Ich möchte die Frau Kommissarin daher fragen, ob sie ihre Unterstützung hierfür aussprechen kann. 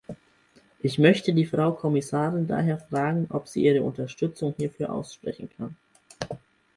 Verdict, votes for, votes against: accepted, 4, 0